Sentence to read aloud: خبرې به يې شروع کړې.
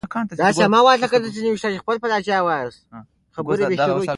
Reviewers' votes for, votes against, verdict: 0, 2, rejected